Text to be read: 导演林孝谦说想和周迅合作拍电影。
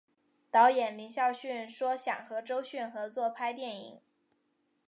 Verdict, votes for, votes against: accepted, 2, 0